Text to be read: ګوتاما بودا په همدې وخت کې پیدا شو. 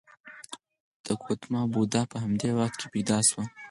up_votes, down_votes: 2, 4